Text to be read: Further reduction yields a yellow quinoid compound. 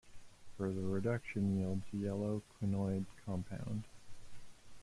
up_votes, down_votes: 1, 2